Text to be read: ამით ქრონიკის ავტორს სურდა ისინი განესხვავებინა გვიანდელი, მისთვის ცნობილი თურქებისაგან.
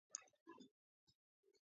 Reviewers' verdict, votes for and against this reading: accepted, 2, 0